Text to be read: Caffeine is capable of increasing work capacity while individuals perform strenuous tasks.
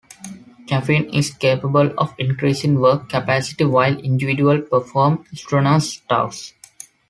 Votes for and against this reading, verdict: 2, 0, accepted